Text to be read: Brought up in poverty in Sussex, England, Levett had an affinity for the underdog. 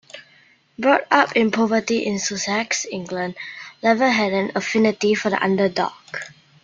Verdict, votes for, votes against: accepted, 2, 0